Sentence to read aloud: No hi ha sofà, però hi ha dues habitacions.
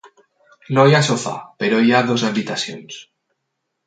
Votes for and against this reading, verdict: 2, 4, rejected